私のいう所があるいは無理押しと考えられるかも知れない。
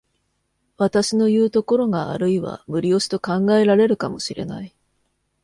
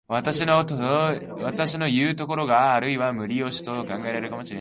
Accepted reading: first